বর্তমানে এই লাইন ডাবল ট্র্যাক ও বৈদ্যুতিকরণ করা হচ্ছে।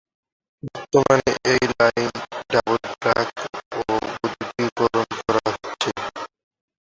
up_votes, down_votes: 2, 12